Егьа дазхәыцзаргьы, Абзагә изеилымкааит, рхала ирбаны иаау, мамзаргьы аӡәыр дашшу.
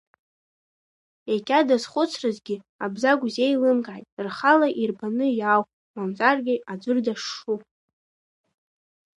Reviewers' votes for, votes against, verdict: 0, 2, rejected